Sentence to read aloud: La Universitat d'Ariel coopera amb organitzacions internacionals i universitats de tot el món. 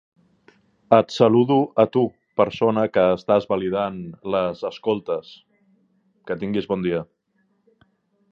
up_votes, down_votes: 1, 2